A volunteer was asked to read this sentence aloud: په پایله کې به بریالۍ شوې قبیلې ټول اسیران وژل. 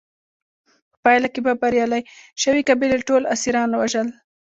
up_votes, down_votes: 2, 1